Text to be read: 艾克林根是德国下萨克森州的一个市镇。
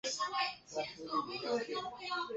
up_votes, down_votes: 1, 2